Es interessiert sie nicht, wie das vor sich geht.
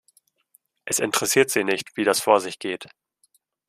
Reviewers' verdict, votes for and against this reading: accepted, 2, 0